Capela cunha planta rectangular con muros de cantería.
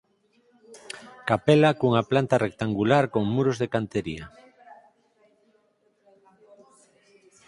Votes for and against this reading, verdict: 2, 4, rejected